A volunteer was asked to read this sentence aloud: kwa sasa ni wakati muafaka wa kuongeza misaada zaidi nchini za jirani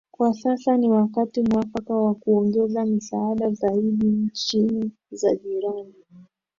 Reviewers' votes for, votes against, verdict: 2, 0, accepted